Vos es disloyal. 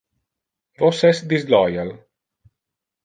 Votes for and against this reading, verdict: 1, 2, rejected